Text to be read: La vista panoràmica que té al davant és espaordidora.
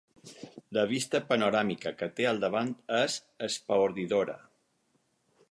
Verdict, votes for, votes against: accepted, 4, 0